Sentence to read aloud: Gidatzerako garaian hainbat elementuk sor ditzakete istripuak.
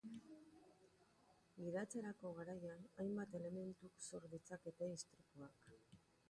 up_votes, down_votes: 2, 2